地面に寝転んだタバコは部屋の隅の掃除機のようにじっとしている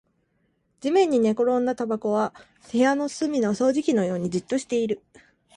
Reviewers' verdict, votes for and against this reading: accepted, 2, 0